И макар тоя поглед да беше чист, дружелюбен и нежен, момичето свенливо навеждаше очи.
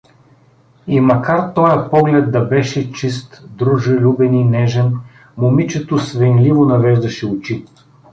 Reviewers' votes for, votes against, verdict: 2, 0, accepted